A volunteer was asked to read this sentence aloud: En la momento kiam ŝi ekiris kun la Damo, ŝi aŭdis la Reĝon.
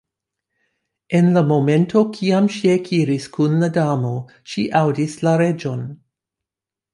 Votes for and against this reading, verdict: 2, 0, accepted